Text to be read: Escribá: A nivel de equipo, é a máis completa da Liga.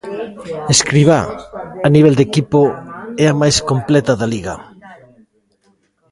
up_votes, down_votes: 2, 0